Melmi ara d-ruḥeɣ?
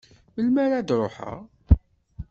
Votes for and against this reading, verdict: 2, 0, accepted